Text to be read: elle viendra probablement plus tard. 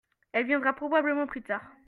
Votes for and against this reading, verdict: 0, 2, rejected